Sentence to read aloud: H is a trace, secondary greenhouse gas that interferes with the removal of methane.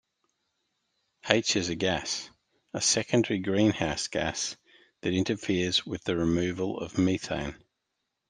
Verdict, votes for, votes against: rejected, 0, 2